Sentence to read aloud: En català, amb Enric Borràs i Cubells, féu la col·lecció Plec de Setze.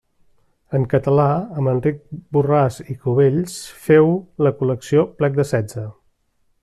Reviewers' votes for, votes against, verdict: 3, 0, accepted